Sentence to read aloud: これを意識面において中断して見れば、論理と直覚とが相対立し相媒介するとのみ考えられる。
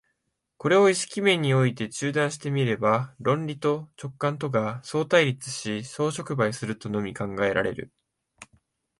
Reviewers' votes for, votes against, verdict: 4, 5, rejected